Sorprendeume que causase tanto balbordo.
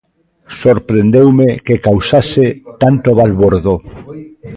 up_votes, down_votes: 1, 2